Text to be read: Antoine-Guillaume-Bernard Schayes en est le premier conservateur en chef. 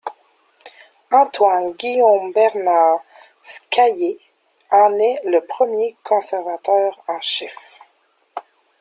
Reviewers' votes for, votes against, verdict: 2, 3, rejected